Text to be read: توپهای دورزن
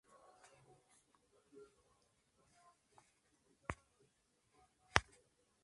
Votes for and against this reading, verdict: 0, 2, rejected